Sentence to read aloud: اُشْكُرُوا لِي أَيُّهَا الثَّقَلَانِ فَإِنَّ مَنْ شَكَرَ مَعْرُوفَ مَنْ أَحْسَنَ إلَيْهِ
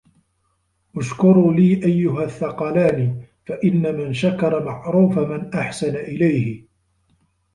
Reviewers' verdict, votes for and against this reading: accepted, 2, 0